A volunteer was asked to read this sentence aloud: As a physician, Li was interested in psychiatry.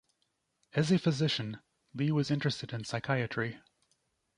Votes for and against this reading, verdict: 2, 0, accepted